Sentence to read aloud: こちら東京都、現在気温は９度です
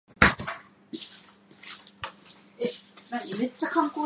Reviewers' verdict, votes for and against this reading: rejected, 0, 2